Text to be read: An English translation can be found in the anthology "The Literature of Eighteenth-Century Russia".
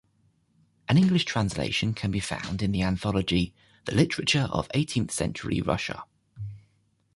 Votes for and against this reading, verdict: 2, 0, accepted